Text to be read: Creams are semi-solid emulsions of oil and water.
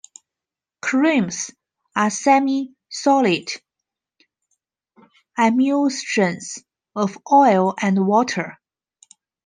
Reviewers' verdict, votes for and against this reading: rejected, 0, 2